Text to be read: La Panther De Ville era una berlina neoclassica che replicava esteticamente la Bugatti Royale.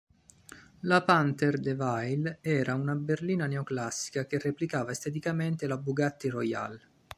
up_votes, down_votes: 2, 0